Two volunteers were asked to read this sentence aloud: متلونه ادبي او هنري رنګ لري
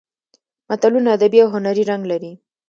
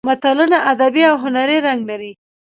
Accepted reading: first